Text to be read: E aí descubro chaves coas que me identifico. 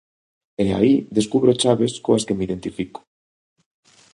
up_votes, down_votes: 2, 0